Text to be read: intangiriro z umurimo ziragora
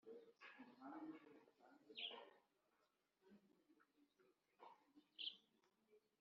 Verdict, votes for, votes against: rejected, 0, 2